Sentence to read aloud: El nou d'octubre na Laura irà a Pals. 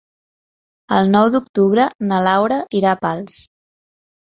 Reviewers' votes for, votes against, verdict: 3, 0, accepted